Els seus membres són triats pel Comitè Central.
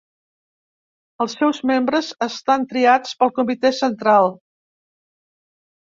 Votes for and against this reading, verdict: 0, 2, rejected